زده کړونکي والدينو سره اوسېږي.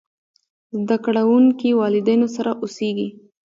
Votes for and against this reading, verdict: 2, 1, accepted